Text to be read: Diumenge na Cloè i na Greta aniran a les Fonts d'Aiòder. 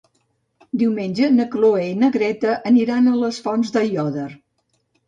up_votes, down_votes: 2, 0